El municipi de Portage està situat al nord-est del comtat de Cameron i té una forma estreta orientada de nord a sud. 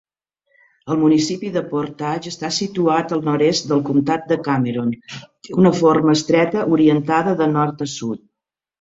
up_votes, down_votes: 2, 1